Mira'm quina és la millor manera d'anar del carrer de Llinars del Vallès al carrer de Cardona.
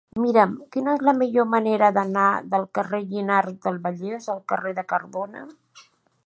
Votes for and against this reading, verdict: 0, 2, rejected